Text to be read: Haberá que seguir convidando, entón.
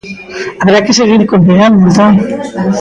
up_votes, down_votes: 0, 2